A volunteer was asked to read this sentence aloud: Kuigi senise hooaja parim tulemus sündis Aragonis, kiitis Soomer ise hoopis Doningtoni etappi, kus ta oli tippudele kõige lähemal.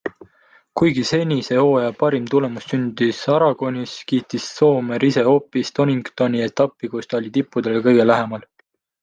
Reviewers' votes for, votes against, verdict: 2, 0, accepted